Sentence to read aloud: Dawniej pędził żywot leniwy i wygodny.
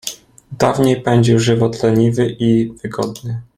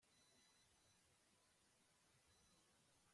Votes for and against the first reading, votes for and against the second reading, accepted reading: 2, 0, 0, 2, first